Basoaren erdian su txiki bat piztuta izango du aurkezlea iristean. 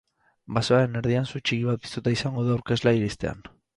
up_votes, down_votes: 0, 2